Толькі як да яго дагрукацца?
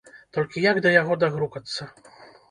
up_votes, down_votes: 2, 0